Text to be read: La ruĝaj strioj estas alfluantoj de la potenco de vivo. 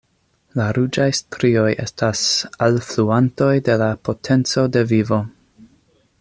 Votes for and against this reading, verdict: 2, 0, accepted